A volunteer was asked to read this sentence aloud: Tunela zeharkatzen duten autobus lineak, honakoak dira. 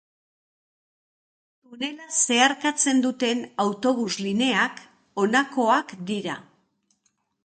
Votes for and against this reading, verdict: 1, 2, rejected